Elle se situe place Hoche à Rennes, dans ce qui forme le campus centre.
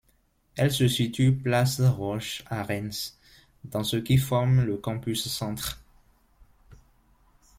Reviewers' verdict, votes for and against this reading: rejected, 1, 2